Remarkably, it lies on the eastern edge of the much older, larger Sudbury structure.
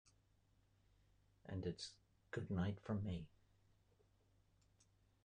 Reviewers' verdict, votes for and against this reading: rejected, 0, 2